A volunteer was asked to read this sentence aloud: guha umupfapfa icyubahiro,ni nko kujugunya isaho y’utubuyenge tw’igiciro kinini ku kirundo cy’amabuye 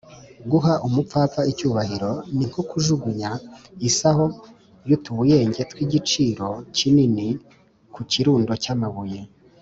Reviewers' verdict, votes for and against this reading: accepted, 2, 0